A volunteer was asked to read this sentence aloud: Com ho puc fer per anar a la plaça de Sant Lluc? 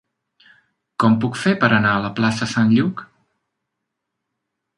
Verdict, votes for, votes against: rejected, 0, 2